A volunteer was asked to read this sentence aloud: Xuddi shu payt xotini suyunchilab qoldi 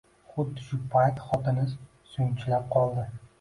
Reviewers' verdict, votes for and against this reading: rejected, 0, 2